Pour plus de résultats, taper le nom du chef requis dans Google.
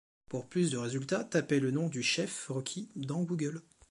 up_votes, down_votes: 2, 0